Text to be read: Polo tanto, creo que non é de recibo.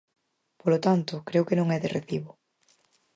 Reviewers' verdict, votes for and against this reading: accepted, 4, 0